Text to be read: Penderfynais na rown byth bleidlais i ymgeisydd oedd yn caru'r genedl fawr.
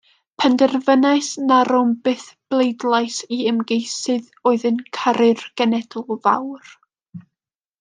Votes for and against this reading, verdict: 2, 0, accepted